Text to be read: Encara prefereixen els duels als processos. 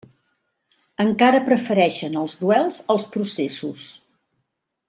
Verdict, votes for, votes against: accepted, 4, 0